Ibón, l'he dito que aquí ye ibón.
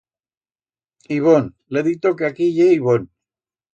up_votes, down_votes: 2, 0